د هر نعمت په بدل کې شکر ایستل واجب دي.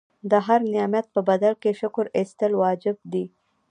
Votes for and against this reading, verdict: 2, 0, accepted